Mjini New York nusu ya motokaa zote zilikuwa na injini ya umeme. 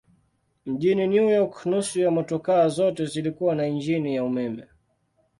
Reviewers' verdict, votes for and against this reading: accepted, 2, 0